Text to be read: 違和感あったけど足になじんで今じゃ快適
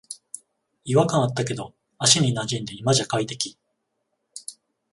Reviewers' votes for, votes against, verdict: 14, 0, accepted